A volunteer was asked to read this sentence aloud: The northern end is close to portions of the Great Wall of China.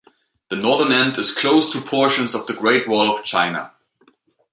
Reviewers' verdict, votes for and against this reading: accepted, 2, 0